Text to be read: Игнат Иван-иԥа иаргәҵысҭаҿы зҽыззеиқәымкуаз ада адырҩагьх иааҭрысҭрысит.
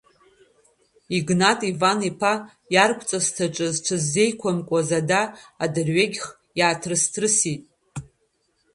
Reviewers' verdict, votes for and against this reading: accepted, 2, 1